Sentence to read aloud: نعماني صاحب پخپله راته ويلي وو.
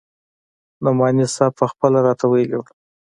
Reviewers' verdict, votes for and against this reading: accepted, 2, 1